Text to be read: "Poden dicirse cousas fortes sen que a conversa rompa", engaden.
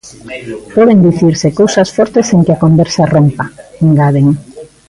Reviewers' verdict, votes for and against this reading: rejected, 1, 2